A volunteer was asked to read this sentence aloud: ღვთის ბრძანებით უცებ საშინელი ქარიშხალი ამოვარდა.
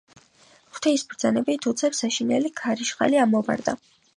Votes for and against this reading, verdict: 2, 0, accepted